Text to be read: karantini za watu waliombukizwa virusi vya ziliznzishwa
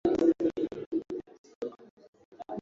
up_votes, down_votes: 0, 2